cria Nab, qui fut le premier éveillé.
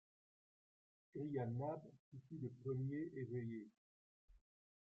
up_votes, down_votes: 2, 1